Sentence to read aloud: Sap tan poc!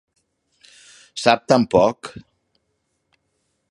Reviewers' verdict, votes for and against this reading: accepted, 2, 0